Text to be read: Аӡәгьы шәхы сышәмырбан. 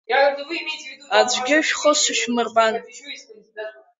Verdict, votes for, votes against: accepted, 3, 1